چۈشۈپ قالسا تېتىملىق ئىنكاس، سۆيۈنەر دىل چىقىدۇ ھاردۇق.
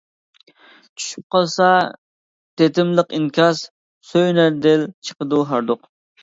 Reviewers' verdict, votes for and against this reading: accepted, 2, 0